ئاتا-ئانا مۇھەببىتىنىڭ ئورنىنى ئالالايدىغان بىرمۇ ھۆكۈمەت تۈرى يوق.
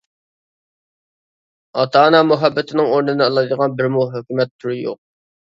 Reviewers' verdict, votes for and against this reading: rejected, 0, 2